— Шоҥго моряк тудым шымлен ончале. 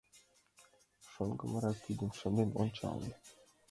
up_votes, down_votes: 0, 2